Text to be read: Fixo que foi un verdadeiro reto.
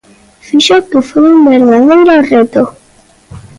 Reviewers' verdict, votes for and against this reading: rejected, 1, 2